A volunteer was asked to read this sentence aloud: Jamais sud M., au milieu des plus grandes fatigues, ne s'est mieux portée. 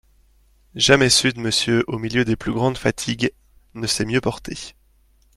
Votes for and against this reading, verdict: 2, 0, accepted